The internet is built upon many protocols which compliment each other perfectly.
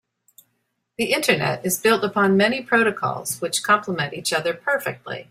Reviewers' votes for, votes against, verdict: 2, 0, accepted